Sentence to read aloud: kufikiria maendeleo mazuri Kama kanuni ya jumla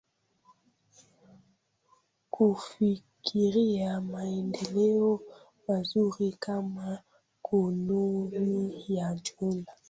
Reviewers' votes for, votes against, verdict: 0, 2, rejected